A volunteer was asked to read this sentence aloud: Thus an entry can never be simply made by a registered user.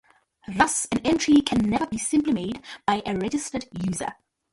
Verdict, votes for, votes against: rejected, 0, 2